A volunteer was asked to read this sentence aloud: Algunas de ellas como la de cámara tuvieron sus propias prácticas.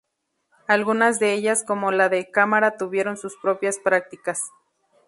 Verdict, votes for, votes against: accepted, 2, 0